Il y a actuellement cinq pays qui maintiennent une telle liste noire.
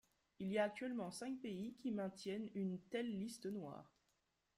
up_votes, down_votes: 1, 2